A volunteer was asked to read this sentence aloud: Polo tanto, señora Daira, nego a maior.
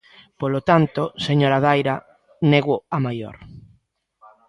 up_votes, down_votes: 2, 0